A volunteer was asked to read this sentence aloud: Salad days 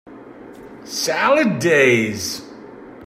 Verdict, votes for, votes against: accepted, 2, 1